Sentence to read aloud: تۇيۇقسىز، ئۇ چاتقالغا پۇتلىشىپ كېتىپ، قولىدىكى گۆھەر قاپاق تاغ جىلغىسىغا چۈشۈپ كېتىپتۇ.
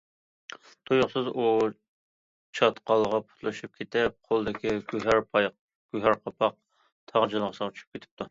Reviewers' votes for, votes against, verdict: 0, 2, rejected